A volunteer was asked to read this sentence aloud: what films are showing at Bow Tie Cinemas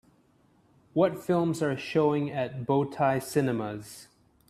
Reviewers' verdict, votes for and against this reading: accepted, 2, 0